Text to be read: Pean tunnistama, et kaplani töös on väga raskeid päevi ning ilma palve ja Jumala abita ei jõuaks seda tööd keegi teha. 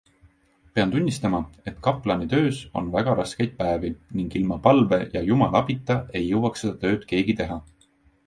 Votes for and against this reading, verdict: 2, 0, accepted